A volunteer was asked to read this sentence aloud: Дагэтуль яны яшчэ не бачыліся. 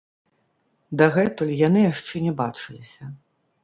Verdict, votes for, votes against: rejected, 1, 2